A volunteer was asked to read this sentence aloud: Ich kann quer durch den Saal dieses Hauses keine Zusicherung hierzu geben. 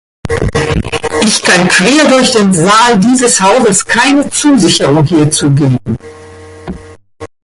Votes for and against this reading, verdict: 2, 1, accepted